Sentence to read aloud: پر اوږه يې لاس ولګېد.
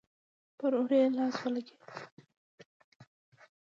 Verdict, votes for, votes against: accepted, 2, 1